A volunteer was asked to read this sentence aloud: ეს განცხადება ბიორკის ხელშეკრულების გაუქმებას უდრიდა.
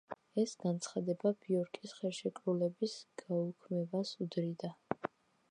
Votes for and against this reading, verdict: 0, 2, rejected